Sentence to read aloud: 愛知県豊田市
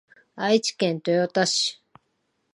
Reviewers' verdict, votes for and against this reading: accepted, 2, 0